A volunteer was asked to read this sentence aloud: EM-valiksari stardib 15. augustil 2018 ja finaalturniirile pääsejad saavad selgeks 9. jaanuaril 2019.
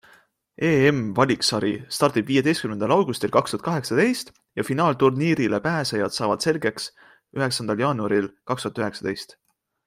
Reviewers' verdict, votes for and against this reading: rejected, 0, 2